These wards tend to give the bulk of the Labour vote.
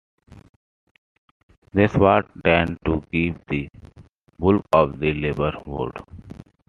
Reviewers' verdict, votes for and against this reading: accepted, 2, 1